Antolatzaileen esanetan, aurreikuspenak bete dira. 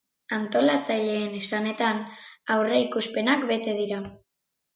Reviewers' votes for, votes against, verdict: 2, 0, accepted